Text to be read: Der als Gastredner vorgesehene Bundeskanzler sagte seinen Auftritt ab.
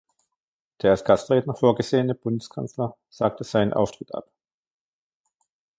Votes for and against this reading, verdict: 1, 2, rejected